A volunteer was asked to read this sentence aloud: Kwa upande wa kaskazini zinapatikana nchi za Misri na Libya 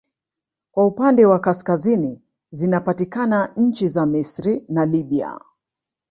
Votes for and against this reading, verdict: 1, 2, rejected